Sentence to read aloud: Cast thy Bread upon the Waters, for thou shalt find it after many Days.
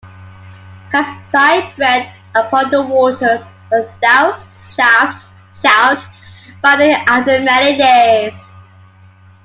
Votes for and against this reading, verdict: 0, 2, rejected